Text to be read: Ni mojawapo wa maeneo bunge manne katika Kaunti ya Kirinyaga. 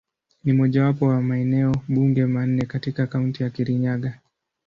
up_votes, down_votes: 2, 0